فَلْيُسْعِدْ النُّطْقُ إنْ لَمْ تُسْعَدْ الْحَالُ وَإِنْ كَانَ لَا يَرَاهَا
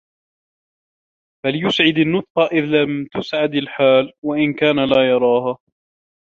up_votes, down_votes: 1, 2